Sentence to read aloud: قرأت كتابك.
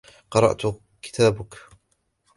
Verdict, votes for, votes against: rejected, 1, 2